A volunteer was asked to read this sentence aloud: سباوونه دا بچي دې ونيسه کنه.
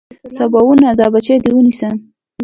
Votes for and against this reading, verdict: 1, 2, rejected